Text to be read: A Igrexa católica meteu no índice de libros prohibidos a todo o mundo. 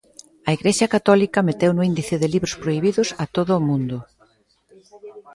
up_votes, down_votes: 2, 0